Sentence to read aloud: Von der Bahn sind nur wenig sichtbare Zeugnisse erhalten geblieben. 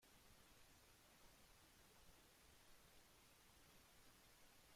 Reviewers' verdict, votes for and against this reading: rejected, 0, 2